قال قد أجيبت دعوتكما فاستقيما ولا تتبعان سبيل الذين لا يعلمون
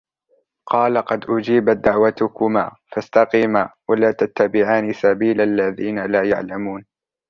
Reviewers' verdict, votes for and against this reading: accepted, 2, 0